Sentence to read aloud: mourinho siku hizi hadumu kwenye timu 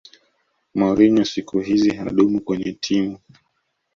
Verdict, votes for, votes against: accepted, 2, 0